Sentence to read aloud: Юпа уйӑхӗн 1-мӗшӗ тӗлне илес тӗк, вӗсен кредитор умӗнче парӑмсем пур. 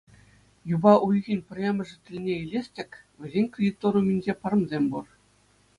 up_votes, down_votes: 0, 2